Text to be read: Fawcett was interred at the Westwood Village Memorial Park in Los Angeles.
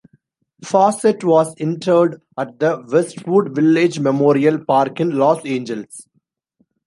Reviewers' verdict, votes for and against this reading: accepted, 2, 1